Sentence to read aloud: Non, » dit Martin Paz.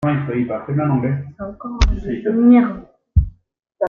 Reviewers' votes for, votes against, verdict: 0, 2, rejected